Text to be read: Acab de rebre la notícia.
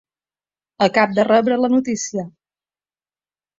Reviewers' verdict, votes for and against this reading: accepted, 4, 0